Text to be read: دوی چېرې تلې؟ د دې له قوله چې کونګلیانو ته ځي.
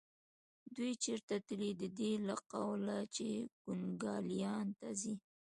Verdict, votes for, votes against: rejected, 0, 2